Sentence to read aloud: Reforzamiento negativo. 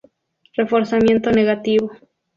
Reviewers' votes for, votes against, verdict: 2, 0, accepted